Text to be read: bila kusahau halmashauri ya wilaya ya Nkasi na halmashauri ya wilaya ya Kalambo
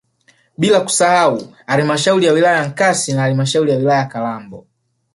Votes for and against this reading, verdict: 3, 1, accepted